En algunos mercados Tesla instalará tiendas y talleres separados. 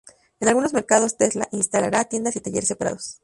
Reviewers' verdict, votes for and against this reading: rejected, 0, 2